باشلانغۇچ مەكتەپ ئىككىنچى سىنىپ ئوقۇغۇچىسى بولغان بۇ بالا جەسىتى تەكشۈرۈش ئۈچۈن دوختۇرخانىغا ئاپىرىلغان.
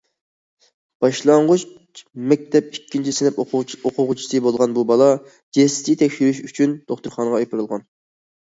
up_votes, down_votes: 0, 2